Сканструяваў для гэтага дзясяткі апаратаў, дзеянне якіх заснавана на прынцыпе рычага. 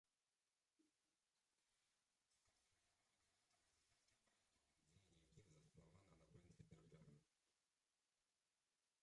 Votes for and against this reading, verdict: 0, 2, rejected